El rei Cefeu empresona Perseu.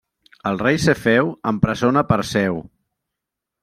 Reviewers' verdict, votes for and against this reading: accepted, 3, 0